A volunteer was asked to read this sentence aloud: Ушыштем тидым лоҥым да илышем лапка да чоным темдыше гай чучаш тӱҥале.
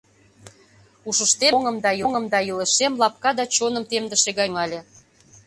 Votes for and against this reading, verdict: 0, 2, rejected